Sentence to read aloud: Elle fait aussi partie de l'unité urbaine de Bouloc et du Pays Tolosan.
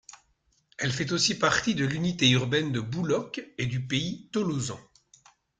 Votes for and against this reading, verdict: 2, 0, accepted